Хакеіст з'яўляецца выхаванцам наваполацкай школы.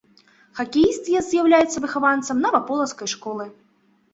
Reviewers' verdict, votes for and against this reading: rejected, 2, 3